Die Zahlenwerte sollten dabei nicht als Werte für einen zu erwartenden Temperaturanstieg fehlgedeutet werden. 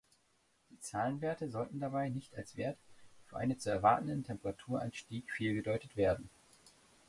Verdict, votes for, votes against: rejected, 1, 2